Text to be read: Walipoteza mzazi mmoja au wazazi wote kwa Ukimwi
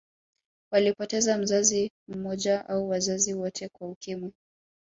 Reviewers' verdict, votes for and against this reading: rejected, 1, 2